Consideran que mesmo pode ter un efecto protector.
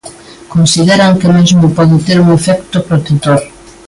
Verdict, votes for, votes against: accepted, 3, 0